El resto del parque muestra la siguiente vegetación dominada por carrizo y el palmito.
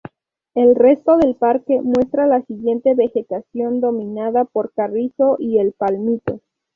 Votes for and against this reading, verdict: 2, 0, accepted